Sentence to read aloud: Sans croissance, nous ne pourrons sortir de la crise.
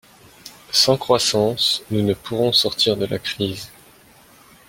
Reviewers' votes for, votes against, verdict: 2, 0, accepted